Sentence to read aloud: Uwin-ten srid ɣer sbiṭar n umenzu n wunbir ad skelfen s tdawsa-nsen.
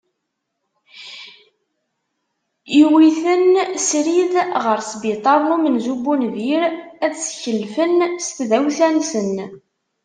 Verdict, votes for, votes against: rejected, 1, 2